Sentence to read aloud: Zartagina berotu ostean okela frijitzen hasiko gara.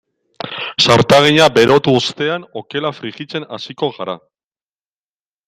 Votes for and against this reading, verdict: 1, 2, rejected